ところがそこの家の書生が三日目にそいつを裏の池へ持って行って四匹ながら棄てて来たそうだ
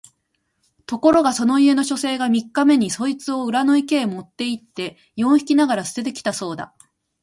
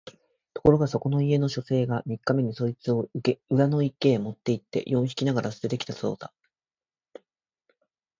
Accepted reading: first